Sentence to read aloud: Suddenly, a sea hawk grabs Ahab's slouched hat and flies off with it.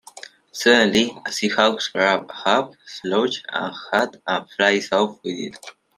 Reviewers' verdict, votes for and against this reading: rejected, 0, 2